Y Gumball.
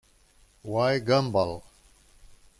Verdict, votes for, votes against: rejected, 0, 2